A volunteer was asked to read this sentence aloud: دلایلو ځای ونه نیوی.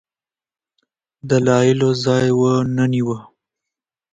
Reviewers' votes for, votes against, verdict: 2, 0, accepted